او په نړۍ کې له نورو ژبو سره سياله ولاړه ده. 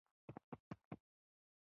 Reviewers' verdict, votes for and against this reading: rejected, 0, 2